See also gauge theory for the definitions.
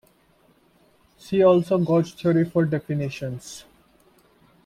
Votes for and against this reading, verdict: 0, 2, rejected